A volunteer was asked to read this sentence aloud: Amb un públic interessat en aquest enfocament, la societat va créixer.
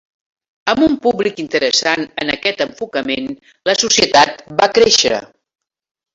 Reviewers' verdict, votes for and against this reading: rejected, 0, 2